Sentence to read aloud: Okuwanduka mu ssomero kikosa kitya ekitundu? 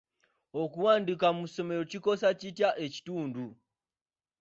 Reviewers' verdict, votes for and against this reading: rejected, 1, 2